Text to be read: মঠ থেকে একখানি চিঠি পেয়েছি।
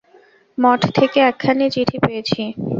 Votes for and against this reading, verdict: 4, 0, accepted